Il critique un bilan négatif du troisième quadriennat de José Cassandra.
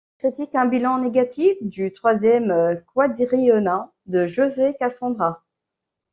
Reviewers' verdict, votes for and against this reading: rejected, 1, 2